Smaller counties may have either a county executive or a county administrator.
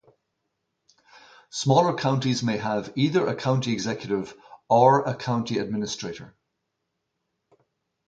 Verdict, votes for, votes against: rejected, 2, 2